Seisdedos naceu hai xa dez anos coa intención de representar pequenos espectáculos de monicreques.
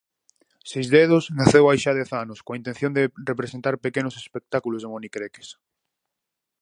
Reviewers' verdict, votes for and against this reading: accepted, 4, 0